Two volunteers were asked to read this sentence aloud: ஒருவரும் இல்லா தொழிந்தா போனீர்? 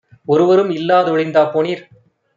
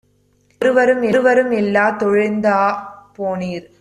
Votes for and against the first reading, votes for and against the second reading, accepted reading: 2, 0, 0, 2, first